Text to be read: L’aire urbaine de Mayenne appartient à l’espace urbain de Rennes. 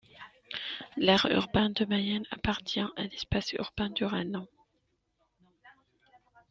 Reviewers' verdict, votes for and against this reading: rejected, 0, 2